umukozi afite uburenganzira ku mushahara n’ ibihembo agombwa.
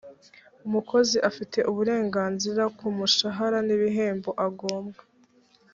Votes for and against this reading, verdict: 2, 0, accepted